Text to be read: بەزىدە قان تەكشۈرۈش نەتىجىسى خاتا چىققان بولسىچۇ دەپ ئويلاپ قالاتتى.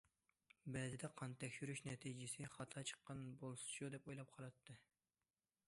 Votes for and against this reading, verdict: 2, 0, accepted